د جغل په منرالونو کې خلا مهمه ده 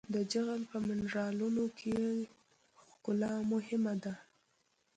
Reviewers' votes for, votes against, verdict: 1, 2, rejected